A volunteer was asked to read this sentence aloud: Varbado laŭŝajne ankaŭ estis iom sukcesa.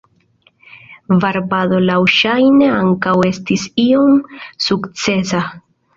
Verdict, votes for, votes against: accepted, 2, 0